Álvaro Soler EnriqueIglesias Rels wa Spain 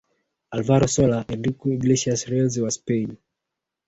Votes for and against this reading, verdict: 1, 2, rejected